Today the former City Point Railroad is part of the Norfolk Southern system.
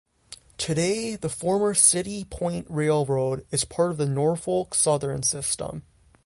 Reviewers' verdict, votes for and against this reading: rejected, 0, 3